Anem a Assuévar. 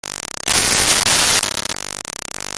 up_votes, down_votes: 0, 2